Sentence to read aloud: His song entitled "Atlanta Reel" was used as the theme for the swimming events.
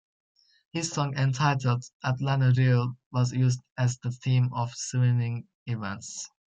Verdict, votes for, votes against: rejected, 1, 2